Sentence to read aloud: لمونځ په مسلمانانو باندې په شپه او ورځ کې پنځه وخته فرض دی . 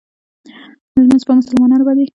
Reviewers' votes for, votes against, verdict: 1, 2, rejected